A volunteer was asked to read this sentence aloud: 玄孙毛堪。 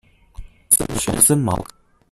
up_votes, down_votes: 0, 2